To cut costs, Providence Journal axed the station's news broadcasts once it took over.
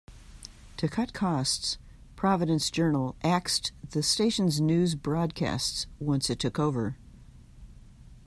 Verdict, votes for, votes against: accepted, 2, 0